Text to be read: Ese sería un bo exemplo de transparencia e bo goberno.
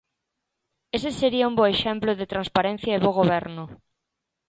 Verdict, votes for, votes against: accepted, 2, 0